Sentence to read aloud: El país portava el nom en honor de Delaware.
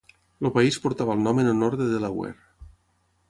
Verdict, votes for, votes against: rejected, 3, 6